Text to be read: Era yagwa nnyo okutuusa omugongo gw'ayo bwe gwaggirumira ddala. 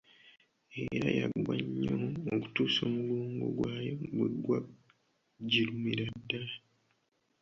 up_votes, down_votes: 1, 3